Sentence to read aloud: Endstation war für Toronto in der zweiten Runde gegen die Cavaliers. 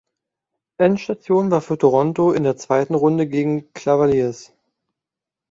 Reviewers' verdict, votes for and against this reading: rejected, 0, 2